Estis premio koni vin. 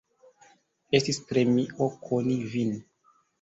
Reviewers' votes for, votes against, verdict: 2, 0, accepted